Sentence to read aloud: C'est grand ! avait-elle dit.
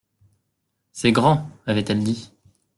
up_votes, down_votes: 2, 0